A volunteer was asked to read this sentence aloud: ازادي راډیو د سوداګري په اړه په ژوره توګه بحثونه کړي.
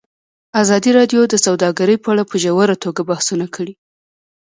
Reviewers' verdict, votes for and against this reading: accepted, 2, 1